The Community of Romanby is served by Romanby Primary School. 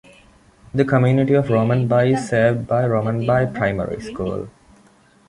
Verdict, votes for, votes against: accepted, 2, 0